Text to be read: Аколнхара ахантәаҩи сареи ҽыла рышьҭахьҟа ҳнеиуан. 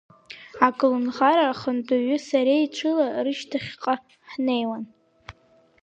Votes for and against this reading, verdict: 2, 0, accepted